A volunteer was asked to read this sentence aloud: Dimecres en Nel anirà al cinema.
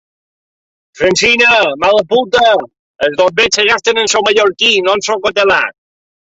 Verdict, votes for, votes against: rejected, 0, 2